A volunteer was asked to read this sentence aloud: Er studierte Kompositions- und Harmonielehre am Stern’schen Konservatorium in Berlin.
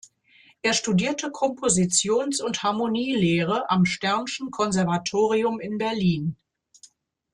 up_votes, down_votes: 2, 0